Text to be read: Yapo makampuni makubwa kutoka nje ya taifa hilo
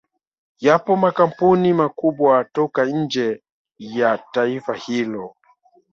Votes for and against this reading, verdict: 3, 2, accepted